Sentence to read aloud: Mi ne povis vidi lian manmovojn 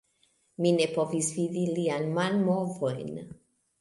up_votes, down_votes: 2, 1